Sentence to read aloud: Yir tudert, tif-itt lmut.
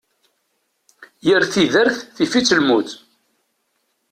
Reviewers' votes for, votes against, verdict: 0, 2, rejected